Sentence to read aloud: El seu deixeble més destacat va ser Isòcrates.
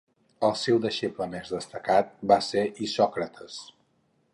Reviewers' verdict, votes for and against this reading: accepted, 2, 0